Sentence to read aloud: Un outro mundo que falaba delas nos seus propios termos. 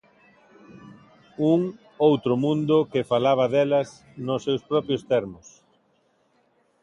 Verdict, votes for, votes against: accepted, 2, 0